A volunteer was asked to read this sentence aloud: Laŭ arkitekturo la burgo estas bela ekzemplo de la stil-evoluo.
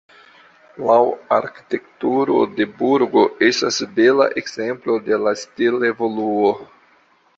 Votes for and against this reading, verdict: 2, 0, accepted